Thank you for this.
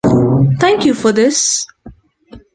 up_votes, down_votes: 2, 0